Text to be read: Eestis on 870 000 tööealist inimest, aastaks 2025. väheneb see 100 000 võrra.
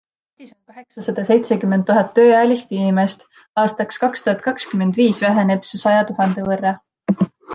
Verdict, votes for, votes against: rejected, 0, 2